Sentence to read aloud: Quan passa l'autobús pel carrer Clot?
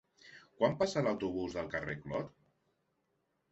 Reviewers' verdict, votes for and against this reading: rejected, 1, 2